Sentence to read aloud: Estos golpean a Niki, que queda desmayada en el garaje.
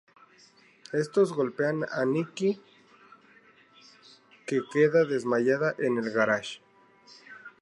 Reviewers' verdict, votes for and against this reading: rejected, 0, 2